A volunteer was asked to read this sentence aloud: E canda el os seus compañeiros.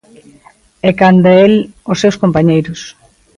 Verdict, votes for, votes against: accepted, 2, 0